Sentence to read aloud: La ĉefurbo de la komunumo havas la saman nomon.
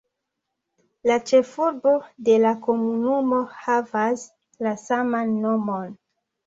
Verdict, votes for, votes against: accepted, 2, 0